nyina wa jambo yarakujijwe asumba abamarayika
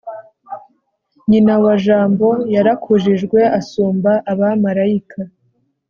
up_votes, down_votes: 3, 0